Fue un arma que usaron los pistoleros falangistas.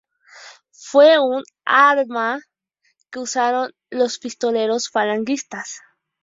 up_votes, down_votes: 0, 2